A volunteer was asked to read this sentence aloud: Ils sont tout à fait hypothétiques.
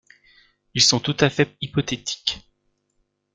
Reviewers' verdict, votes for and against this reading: rejected, 1, 2